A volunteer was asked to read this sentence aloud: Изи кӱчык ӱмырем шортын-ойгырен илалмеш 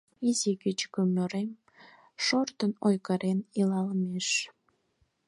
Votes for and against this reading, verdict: 4, 2, accepted